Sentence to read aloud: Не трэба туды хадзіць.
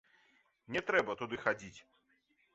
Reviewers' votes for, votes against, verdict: 2, 0, accepted